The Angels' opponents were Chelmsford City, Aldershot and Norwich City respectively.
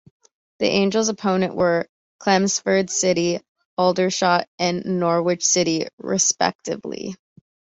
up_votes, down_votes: 0, 2